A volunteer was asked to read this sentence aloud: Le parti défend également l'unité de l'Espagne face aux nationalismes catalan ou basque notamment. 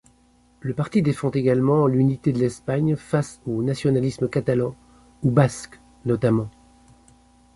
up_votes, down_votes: 2, 0